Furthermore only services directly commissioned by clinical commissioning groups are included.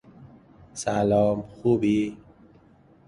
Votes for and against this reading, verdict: 0, 2, rejected